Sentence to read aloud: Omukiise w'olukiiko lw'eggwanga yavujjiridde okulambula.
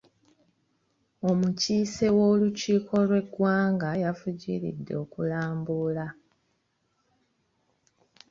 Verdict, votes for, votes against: rejected, 0, 2